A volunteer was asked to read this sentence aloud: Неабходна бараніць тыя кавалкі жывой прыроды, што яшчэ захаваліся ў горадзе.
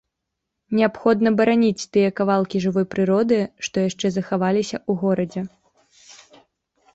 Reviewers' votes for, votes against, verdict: 2, 0, accepted